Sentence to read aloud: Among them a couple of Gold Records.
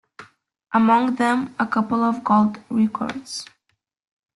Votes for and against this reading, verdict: 2, 3, rejected